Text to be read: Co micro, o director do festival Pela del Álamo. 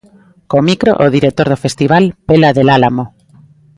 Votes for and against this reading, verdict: 2, 0, accepted